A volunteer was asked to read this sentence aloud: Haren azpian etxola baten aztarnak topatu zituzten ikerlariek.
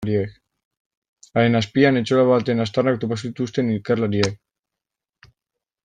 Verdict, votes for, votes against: rejected, 0, 2